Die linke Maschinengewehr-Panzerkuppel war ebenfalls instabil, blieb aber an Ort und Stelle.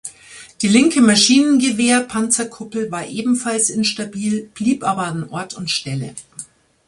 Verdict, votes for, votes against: accepted, 3, 0